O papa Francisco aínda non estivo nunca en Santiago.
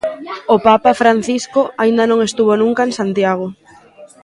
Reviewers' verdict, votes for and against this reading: rejected, 0, 2